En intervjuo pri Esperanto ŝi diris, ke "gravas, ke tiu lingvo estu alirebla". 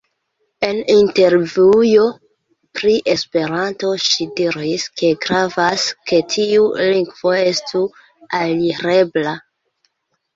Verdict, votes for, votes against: rejected, 0, 2